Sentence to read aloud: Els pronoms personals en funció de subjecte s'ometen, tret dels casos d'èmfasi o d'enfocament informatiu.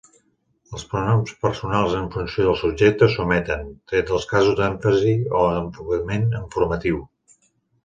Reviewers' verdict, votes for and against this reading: rejected, 1, 2